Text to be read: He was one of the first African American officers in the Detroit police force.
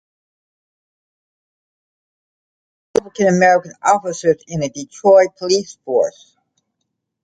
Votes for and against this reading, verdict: 0, 2, rejected